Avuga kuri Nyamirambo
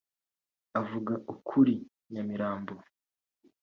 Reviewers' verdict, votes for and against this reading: rejected, 2, 2